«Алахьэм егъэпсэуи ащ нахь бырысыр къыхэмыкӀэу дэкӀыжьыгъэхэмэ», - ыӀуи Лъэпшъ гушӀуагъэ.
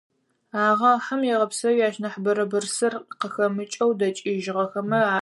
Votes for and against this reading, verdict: 2, 4, rejected